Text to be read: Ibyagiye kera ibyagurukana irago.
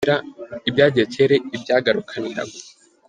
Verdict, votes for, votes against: rejected, 1, 2